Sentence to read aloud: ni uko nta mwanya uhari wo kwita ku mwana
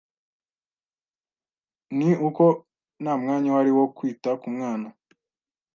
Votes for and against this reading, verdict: 2, 0, accepted